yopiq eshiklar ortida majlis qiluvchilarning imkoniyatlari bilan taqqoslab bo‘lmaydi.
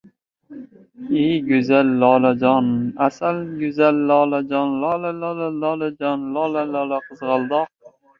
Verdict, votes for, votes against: rejected, 0, 2